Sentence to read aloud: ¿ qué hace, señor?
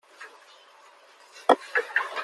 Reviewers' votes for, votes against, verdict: 0, 2, rejected